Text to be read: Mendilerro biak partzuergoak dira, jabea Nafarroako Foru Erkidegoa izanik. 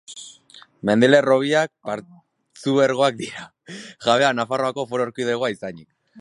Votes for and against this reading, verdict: 2, 3, rejected